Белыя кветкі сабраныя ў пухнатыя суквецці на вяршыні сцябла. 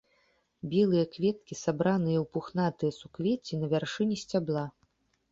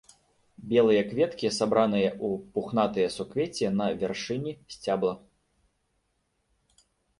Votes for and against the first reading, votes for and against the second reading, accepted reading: 2, 0, 1, 2, first